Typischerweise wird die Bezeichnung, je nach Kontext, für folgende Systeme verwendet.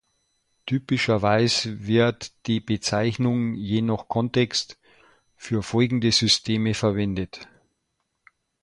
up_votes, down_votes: 2, 1